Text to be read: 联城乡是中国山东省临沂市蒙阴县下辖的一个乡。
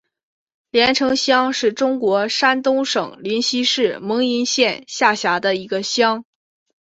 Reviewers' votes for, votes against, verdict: 2, 0, accepted